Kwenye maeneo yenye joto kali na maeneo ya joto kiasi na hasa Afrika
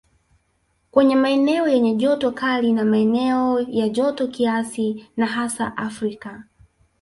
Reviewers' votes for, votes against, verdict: 1, 2, rejected